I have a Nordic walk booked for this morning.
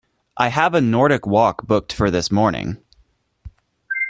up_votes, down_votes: 2, 0